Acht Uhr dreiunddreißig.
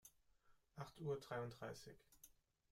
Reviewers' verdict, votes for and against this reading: rejected, 1, 2